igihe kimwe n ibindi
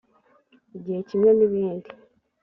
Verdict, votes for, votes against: accepted, 3, 0